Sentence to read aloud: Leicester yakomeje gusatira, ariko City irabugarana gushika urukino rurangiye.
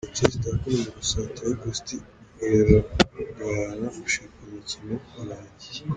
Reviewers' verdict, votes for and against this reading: rejected, 0, 2